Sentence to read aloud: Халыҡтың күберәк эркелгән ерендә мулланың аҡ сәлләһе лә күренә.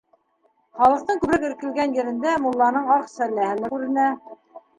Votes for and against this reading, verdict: 2, 0, accepted